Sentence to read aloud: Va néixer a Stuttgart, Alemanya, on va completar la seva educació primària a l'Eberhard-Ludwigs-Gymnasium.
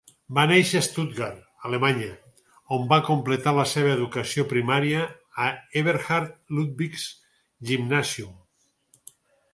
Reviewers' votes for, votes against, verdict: 0, 4, rejected